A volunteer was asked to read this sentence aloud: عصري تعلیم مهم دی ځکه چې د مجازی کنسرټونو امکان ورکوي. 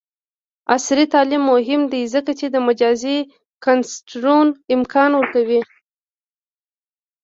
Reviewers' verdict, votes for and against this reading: accepted, 2, 1